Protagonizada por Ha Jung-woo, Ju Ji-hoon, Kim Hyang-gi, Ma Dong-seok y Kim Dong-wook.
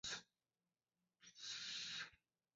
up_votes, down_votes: 0, 2